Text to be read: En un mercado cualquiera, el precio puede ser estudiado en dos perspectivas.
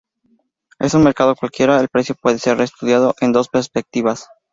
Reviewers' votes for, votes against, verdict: 0, 2, rejected